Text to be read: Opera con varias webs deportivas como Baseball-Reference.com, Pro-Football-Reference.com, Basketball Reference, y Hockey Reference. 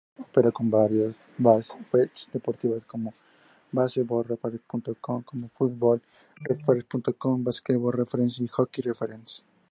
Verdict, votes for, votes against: accepted, 2, 0